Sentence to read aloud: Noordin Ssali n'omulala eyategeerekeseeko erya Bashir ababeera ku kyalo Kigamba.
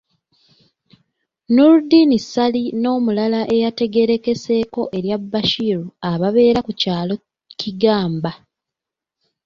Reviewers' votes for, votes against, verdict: 0, 2, rejected